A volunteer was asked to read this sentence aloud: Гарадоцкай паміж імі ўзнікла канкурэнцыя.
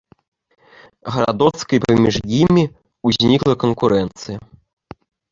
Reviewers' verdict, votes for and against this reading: rejected, 0, 2